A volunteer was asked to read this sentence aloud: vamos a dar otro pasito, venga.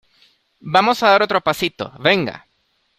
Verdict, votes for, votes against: accepted, 2, 0